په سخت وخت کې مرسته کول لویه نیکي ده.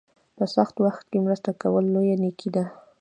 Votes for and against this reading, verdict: 2, 1, accepted